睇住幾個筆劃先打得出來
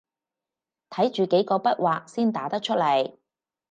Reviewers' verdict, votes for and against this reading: rejected, 2, 4